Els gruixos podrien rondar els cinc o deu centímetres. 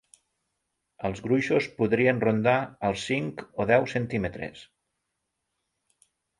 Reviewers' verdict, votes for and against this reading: accepted, 4, 0